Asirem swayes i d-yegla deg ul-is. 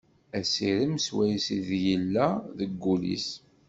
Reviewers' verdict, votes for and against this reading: rejected, 1, 2